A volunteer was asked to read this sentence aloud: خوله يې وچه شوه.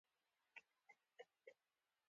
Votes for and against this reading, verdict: 1, 3, rejected